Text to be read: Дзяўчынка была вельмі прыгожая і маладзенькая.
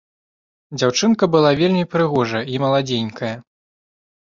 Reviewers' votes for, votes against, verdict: 2, 0, accepted